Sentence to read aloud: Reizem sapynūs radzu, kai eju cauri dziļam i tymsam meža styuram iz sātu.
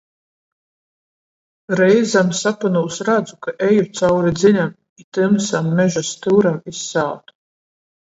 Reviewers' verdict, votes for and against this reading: rejected, 7, 14